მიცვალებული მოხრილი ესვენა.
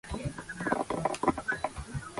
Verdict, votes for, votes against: rejected, 0, 2